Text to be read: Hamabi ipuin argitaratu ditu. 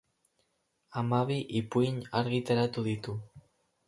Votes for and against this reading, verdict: 4, 0, accepted